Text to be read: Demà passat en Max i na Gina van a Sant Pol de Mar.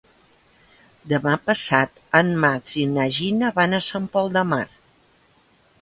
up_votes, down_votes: 3, 0